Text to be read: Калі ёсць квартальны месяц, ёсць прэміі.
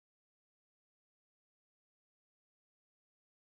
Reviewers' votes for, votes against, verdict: 1, 2, rejected